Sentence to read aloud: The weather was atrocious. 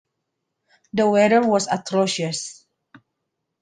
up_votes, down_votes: 2, 1